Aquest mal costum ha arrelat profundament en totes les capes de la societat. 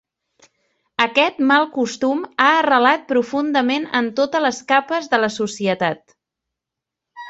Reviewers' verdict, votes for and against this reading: rejected, 1, 2